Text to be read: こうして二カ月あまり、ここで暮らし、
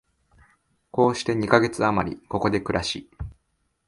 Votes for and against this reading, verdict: 2, 0, accepted